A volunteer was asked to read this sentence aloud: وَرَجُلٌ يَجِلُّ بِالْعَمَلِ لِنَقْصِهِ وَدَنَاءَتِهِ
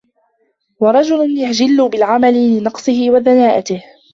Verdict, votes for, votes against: rejected, 0, 2